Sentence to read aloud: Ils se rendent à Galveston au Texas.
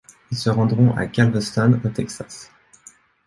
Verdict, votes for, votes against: rejected, 0, 3